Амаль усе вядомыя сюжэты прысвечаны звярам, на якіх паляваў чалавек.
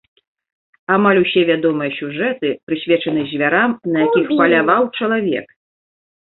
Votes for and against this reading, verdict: 0, 2, rejected